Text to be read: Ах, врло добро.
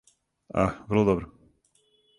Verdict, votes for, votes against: accepted, 4, 0